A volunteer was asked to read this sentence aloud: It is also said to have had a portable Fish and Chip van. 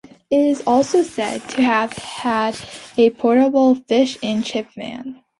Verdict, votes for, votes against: accepted, 2, 0